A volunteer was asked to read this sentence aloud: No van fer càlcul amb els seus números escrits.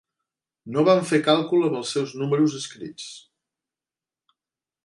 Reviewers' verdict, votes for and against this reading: accepted, 3, 0